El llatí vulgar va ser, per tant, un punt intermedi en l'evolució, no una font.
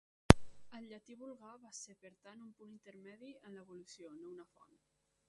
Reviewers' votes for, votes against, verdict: 0, 2, rejected